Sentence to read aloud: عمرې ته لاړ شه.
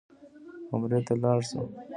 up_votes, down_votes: 2, 0